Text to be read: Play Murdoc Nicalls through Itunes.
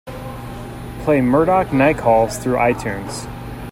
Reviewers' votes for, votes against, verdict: 3, 0, accepted